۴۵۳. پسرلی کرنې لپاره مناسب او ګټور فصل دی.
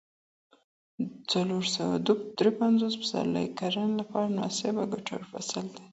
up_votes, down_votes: 0, 2